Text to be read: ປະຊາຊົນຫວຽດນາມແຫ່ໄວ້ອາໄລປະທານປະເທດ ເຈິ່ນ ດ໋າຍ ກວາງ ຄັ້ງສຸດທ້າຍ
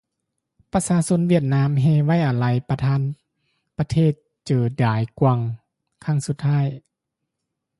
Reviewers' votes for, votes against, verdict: 1, 2, rejected